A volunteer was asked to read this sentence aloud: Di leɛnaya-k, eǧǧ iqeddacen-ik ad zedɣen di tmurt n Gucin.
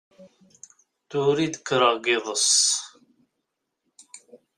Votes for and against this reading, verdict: 0, 2, rejected